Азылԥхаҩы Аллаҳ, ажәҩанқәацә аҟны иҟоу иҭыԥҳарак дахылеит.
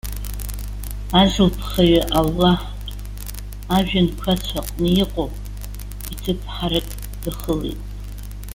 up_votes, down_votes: 2, 1